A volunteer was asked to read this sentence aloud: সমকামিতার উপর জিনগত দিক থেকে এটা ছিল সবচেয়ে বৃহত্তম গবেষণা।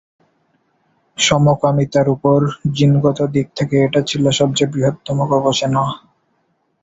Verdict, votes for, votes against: accepted, 14, 4